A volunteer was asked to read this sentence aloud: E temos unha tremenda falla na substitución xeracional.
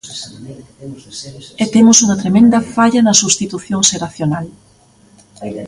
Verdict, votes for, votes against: accepted, 2, 1